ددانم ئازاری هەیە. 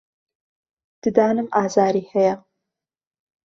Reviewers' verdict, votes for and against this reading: accepted, 2, 0